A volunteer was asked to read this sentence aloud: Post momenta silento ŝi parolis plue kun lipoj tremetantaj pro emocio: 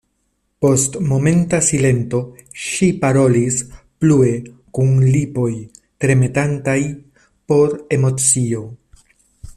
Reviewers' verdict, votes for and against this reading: accepted, 2, 0